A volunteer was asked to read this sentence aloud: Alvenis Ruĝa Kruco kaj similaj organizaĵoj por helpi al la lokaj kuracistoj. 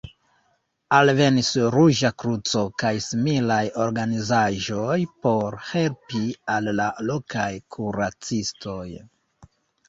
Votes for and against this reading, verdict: 2, 0, accepted